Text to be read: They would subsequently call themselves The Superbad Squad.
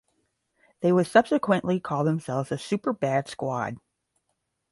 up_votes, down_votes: 5, 0